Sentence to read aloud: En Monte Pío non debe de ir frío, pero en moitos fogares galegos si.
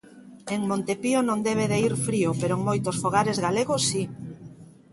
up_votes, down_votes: 2, 0